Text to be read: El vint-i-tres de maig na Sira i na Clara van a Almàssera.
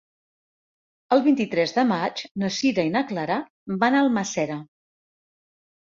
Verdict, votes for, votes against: rejected, 0, 2